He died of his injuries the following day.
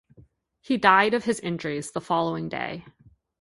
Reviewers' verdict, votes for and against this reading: accepted, 2, 0